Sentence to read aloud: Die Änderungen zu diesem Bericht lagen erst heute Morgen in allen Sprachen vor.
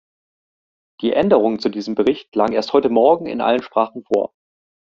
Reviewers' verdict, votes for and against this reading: accepted, 2, 0